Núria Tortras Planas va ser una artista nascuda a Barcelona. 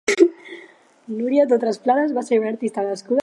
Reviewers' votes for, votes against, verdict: 2, 4, rejected